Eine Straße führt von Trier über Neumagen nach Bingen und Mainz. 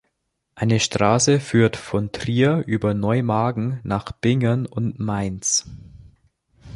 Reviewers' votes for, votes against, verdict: 2, 1, accepted